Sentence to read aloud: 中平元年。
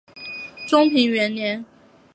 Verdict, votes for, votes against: accepted, 4, 0